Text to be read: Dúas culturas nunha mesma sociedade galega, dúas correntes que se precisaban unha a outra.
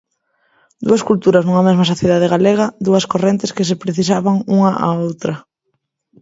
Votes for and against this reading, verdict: 2, 0, accepted